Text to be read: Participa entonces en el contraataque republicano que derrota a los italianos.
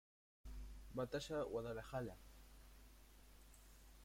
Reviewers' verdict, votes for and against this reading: rejected, 0, 2